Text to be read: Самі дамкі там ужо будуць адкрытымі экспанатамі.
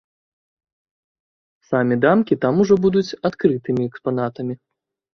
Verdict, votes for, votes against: rejected, 0, 2